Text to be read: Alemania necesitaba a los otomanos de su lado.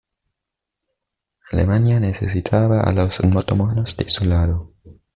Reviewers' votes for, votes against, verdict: 2, 1, accepted